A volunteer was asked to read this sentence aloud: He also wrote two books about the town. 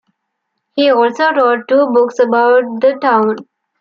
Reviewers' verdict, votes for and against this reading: accepted, 2, 0